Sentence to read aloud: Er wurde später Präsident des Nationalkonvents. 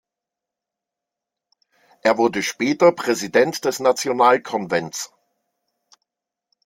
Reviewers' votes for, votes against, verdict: 2, 0, accepted